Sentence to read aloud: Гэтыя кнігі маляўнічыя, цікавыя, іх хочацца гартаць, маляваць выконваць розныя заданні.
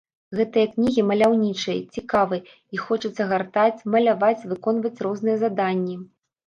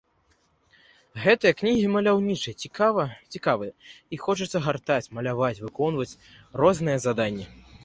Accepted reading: first